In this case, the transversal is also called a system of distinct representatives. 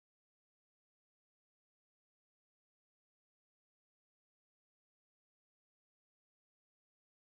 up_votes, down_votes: 0, 2